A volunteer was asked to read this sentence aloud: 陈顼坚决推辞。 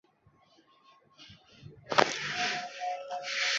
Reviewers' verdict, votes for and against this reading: rejected, 0, 3